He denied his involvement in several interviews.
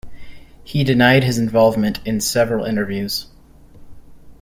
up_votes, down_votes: 2, 0